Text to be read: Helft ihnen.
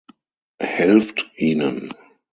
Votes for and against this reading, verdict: 6, 0, accepted